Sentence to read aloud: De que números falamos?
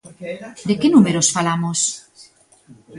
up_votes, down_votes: 2, 1